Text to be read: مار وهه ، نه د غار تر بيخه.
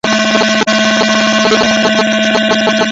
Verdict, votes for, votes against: rejected, 0, 2